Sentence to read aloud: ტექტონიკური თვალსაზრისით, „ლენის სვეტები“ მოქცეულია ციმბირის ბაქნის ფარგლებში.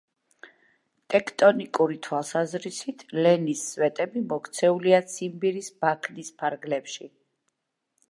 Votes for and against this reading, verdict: 2, 0, accepted